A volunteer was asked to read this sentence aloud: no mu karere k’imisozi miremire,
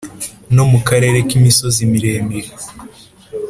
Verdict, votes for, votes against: accepted, 2, 0